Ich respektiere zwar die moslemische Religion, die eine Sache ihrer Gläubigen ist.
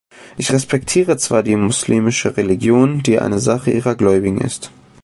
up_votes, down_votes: 2, 0